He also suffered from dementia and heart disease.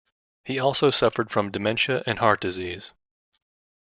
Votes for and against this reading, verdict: 2, 0, accepted